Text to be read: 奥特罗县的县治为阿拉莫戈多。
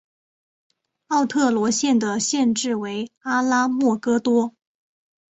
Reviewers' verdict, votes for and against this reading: accepted, 2, 0